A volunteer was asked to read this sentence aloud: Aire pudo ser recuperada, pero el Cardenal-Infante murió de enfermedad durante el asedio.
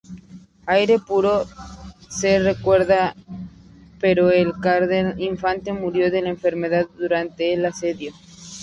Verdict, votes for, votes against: rejected, 0, 2